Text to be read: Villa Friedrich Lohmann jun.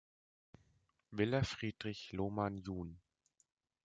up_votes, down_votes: 2, 0